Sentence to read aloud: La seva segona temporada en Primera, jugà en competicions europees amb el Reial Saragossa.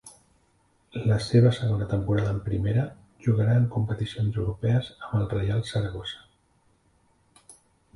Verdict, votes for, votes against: rejected, 0, 2